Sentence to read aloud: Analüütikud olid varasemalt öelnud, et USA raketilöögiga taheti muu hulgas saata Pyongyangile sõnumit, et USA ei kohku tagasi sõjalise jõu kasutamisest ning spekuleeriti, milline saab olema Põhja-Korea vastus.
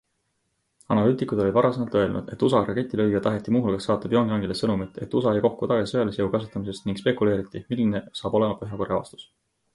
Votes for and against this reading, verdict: 2, 0, accepted